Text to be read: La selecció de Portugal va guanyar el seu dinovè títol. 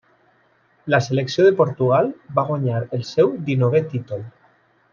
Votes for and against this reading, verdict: 2, 0, accepted